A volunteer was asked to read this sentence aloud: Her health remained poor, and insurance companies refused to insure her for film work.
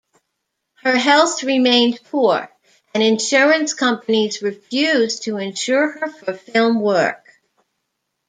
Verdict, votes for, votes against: rejected, 0, 2